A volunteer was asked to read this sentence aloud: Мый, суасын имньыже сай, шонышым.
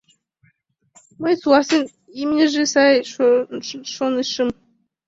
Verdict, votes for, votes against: rejected, 1, 2